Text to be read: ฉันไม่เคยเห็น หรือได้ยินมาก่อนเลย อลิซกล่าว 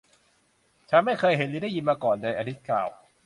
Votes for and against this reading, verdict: 2, 0, accepted